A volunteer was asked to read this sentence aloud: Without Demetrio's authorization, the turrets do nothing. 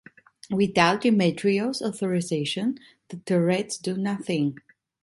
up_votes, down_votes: 2, 0